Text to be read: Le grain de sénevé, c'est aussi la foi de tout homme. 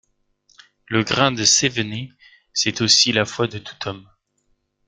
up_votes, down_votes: 0, 2